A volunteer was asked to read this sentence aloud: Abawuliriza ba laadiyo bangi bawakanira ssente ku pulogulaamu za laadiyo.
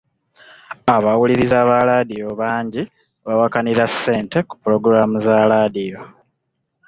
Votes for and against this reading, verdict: 2, 0, accepted